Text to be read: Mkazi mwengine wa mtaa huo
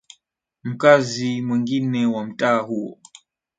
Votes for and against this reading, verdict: 2, 0, accepted